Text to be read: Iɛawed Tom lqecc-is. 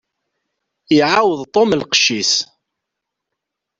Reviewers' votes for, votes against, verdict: 2, 0, accepted